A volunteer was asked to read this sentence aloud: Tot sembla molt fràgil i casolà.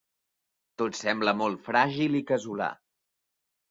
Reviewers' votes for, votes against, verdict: 2, 0, accepted